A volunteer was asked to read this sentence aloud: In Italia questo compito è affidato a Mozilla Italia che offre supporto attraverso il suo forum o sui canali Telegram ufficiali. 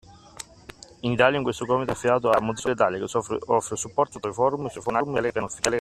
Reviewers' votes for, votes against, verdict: 0, 2, rejected